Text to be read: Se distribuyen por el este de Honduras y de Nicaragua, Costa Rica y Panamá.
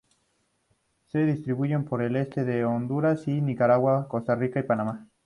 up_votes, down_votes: 2, 0